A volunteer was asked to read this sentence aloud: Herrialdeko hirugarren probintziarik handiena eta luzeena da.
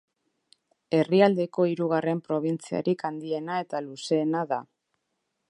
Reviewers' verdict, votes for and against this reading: accepted, 2, 1